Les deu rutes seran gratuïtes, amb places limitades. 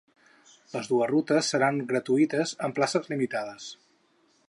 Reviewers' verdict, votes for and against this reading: rejected, 0, 6